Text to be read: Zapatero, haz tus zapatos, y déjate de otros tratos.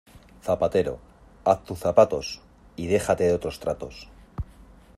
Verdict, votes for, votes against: accepted, 2, 0